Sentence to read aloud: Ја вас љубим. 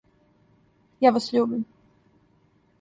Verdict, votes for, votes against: accepted, 2, 0